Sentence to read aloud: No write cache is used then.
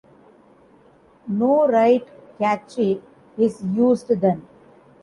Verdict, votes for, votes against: rejected, 0, 2